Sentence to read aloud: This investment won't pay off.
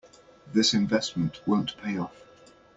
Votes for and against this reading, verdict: 2, 0, accepted